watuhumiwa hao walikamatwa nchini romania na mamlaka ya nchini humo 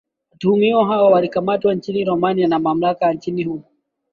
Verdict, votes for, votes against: accepted, 2, 0